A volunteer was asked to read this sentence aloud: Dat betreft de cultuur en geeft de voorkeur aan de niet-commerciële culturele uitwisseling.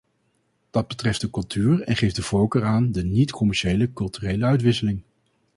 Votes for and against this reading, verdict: 2, 0, accepted